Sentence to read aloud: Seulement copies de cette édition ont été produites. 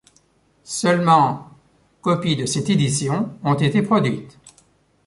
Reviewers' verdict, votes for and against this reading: accepted, 2, 0